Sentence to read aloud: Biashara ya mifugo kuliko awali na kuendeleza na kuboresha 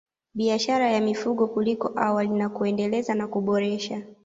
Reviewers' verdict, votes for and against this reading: accepted, 2, 0